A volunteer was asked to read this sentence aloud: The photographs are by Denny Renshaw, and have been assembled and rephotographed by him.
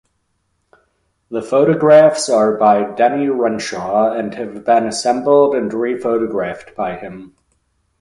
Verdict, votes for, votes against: accepted, 2, 0